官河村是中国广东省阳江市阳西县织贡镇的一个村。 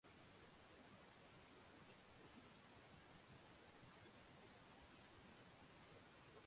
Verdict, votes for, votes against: rejected, 0, 2